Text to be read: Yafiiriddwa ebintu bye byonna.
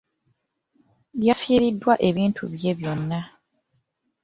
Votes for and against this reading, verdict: 2, 0, accepted